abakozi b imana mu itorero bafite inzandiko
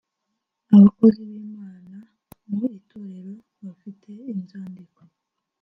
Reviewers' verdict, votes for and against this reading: rejected, 1, 2